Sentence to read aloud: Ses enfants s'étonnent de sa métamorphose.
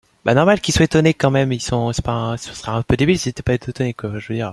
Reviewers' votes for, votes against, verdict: 0, 2, rejected